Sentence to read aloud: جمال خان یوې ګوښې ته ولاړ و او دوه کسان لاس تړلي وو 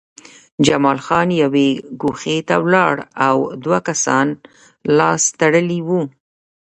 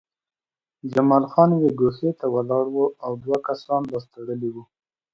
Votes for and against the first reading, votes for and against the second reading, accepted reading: 0, 2, 2, 0, second